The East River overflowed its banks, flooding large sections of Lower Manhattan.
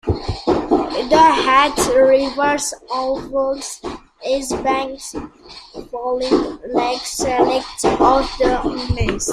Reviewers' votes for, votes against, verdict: 0, 2, rejected